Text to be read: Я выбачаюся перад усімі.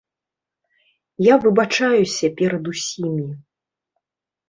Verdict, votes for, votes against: accepted, 2, 0